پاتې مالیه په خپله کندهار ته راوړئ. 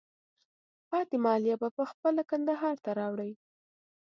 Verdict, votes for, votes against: accepted, 2, 0